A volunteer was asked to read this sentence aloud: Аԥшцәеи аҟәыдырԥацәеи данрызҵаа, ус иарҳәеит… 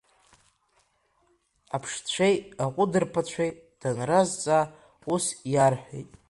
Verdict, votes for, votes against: accepted, 3, 1